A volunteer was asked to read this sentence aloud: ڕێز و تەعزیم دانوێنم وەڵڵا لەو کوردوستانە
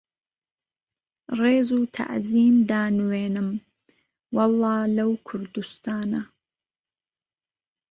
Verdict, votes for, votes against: accepted, 3, 0